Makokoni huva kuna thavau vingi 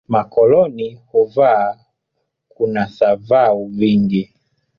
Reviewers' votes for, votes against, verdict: 2, 0, accepted